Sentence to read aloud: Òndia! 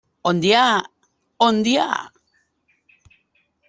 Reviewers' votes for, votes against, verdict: 1, 2, rejected